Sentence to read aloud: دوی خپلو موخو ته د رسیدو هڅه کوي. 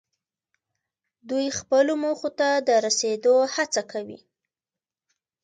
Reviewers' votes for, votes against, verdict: 2, 0, accepted